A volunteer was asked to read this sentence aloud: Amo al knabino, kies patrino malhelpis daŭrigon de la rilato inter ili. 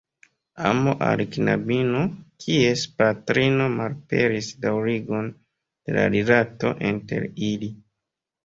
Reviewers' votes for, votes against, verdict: 0, 2, rejected